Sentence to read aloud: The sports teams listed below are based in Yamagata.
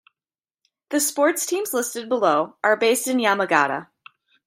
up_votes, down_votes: 2, 0